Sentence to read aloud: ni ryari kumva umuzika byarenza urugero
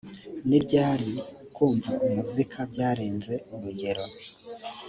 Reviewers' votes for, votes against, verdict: 2, 0, accepted